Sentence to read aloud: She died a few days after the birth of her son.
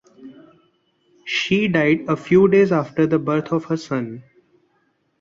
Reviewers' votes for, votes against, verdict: 2, 0, accepted